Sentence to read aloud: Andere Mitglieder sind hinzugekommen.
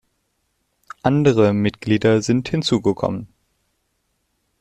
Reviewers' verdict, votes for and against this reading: accepted, 2, 0